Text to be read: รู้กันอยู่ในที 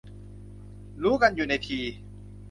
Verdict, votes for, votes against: accepted, 2, 0